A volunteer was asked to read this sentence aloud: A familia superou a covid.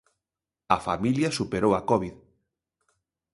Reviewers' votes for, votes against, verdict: 2, 0, accepted